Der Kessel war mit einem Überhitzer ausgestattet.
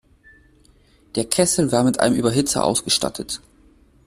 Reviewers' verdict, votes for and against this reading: accepted, 2, 0